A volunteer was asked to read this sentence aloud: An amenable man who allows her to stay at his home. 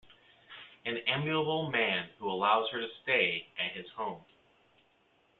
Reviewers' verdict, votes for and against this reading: rejected, 1, 2